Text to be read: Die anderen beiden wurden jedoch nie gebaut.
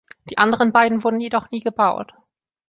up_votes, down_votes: 2, 0